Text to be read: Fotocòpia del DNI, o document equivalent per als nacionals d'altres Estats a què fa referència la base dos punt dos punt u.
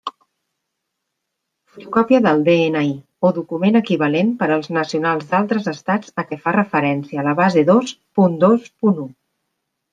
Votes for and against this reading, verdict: 2, 0, accepted